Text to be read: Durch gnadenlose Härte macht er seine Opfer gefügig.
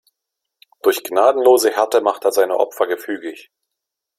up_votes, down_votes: 2, 0